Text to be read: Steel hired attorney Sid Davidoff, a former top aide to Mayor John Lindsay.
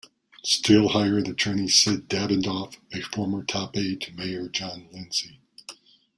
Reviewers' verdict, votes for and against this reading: accepted, 2, 0